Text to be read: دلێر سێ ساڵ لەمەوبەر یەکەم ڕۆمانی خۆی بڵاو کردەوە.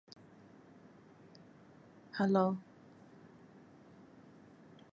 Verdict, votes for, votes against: rejected, 0, 2